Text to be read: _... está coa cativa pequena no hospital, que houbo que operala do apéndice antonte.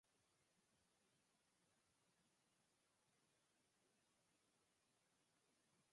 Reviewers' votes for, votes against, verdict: 0, 4, rejected